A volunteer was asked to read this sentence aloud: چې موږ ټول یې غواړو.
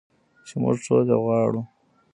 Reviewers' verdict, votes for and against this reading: rejected, 1, 2